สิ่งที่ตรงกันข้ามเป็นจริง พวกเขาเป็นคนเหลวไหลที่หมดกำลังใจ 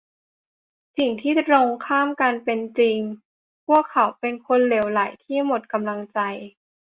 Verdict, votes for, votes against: rejected, 0, 2